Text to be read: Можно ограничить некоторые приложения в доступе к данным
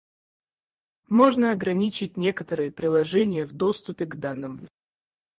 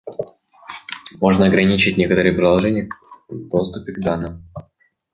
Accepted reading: second